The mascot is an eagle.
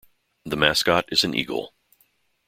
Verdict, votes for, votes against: accepted, 2, 1